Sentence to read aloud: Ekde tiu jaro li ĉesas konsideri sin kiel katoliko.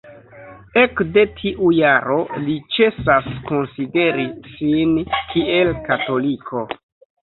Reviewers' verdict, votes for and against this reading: rejected, 1, 2